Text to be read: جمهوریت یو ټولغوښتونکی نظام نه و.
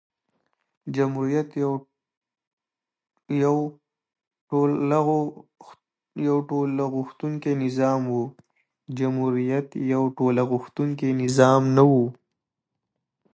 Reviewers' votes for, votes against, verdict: 0, 2, rejected